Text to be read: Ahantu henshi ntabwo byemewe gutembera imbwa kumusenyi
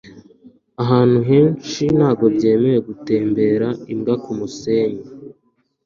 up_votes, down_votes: 3, 0